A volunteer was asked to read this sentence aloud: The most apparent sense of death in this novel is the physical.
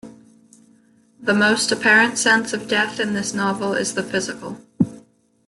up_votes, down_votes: 2, 0